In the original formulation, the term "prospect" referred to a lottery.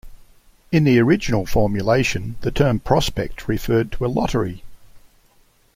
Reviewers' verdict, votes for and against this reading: accepted, 2, 0